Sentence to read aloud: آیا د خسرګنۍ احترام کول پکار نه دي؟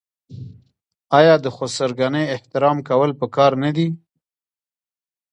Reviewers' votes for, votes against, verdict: 1, 2, rejected